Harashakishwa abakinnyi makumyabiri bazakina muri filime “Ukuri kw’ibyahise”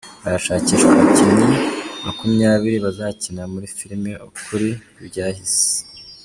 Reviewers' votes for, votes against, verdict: 2, 0, accepted